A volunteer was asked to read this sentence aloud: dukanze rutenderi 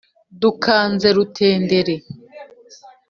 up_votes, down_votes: 2, 0